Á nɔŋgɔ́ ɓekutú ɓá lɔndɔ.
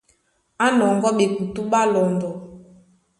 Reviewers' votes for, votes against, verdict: 2, 0, accepted